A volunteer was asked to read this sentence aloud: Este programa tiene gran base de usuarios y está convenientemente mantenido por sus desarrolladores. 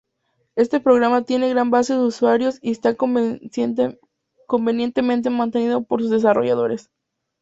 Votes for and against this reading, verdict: 0, 2, rejected